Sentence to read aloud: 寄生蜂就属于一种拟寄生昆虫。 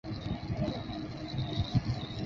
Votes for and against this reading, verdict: 1, 2, rejected